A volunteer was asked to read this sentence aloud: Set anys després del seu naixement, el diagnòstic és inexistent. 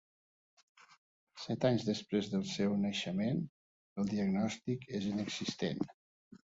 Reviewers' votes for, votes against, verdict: 2, 0, accepted